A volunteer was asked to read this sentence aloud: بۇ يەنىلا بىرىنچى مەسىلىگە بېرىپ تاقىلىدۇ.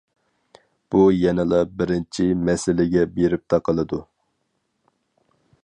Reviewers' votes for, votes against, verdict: 4, 0, accepted